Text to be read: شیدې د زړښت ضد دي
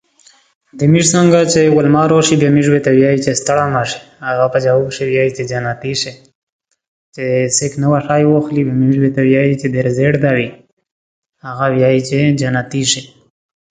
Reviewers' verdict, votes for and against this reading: rejected, 1, 2